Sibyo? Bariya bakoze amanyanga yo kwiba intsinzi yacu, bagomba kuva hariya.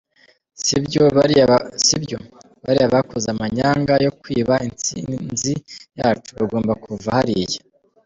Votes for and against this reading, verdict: 1, 2, rejected